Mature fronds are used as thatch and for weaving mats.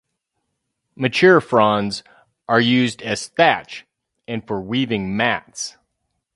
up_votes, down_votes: 2, 2